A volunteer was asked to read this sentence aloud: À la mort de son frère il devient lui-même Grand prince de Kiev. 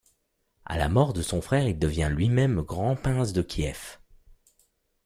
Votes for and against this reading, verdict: 0, 2, rejected